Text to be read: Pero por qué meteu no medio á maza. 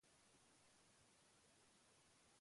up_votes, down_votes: 0, 2